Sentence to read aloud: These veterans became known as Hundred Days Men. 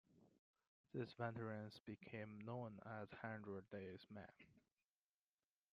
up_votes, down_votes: 0, 3